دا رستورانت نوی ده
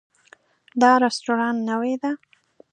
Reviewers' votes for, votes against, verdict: 2, 0, accepted